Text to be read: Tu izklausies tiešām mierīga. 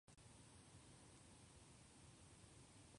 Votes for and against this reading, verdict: 0, 2, rejected